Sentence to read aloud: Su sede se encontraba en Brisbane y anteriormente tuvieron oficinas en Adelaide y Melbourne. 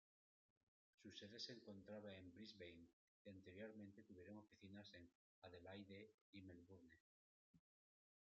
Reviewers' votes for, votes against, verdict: 1, 2, rejected